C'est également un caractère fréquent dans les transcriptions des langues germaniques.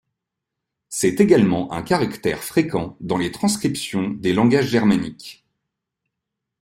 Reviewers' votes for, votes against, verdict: 0, 2, rejected